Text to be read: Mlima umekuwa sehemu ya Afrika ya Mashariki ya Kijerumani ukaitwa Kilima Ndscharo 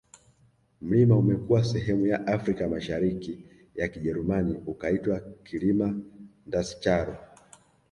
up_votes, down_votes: 2, 1